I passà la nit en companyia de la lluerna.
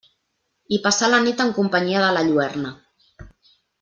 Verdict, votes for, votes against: accepted, 2, 0